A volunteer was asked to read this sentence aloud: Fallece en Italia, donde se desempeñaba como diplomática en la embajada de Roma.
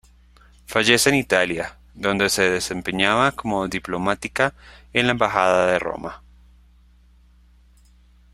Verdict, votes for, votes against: accepted, 2, 0